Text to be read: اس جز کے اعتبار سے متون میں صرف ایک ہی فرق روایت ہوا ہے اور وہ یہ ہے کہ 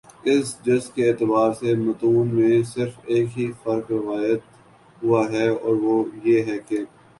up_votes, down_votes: 3, 1